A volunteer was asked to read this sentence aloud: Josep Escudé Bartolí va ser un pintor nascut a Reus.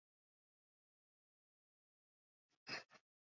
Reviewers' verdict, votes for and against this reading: rejected, 1, 2